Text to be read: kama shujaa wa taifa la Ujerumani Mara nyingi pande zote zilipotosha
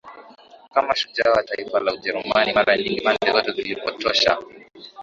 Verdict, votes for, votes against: accepted, 4, 2